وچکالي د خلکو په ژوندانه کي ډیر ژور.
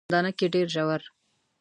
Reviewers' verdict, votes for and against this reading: rejected, 2, 3